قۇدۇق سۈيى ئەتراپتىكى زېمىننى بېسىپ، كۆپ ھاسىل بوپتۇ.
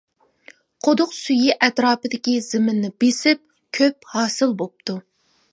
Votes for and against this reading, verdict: 1, 2, rejected